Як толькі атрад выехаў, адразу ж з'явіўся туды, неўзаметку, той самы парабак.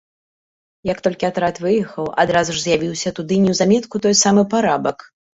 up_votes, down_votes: 1, 2